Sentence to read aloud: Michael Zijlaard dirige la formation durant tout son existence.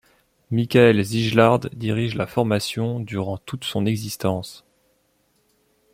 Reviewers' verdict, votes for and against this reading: rejected, 0, 2